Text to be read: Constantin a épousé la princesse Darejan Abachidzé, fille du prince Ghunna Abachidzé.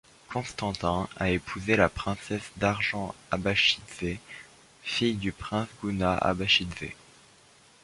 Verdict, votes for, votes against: rejected, 0, 2